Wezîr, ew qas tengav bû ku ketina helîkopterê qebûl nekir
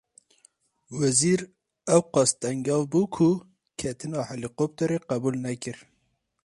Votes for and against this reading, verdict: 2, 2, rejected